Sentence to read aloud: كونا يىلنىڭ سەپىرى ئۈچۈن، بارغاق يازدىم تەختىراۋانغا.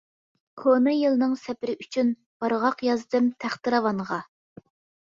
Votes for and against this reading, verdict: 2, 0, accepted